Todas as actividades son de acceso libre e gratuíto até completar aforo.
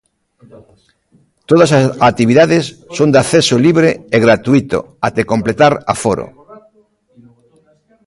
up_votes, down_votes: 1, 2